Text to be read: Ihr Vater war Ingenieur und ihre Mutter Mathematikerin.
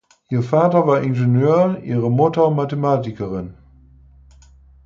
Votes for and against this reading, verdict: 2, 4, rejected